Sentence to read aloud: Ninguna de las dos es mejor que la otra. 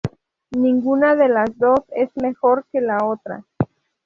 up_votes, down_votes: 2, 0